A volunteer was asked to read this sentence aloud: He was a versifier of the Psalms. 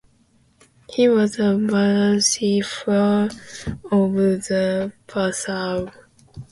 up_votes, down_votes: 1, 2